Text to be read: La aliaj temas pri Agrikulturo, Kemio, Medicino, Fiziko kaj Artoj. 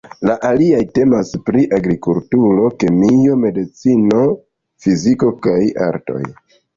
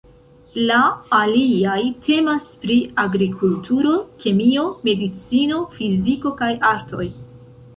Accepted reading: first